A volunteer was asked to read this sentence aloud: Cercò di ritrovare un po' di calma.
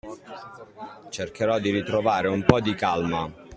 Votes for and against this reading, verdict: 1, 2, rejected